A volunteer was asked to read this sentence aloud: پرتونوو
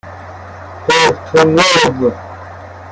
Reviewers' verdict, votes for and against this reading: rejected, 1, 2